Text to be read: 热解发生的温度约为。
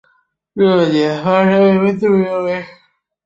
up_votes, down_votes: 1, 2